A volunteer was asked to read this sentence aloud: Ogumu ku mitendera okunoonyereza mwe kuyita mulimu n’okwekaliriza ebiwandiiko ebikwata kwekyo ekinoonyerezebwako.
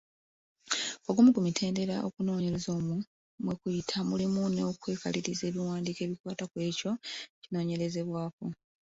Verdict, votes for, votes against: rejected, 1, 2